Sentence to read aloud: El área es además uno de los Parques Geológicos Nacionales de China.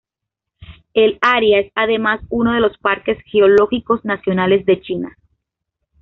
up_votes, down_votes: 2, 0